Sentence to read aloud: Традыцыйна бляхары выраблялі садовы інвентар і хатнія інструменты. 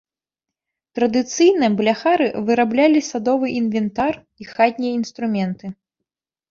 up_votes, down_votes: 0, 2